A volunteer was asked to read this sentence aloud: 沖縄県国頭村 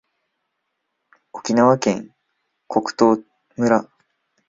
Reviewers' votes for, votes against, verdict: 0, 2, rejected